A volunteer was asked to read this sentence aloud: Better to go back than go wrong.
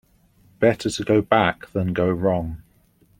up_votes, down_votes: 2, 0